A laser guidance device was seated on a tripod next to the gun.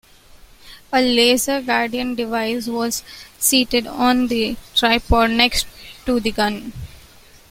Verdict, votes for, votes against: rejected, 0, 2